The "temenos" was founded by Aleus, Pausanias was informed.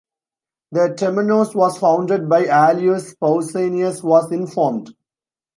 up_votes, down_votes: 2, 0